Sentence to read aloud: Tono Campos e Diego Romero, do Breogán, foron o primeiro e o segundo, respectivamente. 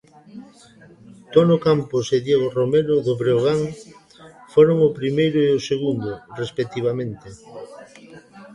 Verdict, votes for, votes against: accepted, 2, 0